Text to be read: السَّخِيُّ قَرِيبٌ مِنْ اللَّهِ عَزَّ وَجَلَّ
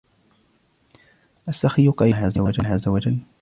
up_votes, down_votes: 1, 2